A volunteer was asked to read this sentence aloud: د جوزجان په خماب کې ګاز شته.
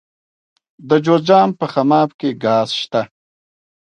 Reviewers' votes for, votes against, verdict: 1, 2, rejected